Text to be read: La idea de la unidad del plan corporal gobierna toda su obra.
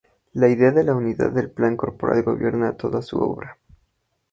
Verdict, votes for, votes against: accepted, 2, 0